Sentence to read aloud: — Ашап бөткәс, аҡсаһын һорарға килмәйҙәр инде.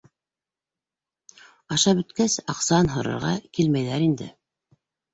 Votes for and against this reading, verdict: 2, 0, accepted